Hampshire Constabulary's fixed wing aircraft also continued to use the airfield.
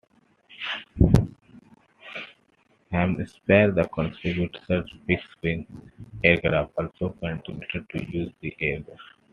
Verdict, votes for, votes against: accepted, 2, 0